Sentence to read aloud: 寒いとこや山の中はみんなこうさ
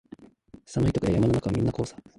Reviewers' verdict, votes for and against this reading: rejected, 1, 2